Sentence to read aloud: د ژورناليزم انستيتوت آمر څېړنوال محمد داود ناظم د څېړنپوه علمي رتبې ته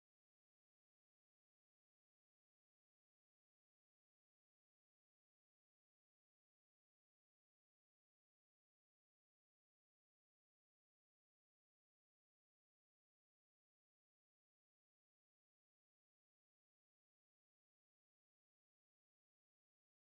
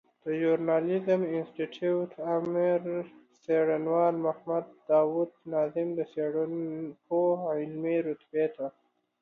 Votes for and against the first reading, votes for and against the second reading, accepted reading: 0, 2, 2, 0, second